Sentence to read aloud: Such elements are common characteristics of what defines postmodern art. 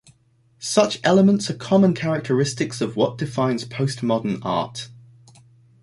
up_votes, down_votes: 2, 0